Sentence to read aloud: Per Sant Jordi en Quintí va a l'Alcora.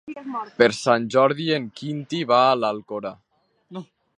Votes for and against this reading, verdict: 3, 0, accepted